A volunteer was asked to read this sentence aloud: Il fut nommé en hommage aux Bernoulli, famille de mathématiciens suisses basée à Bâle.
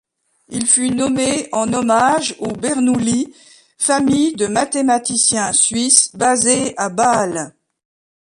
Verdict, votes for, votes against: accepted, 2, 1